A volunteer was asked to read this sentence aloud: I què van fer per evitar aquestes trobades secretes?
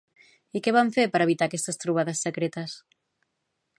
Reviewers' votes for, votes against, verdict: 2, 0, accepted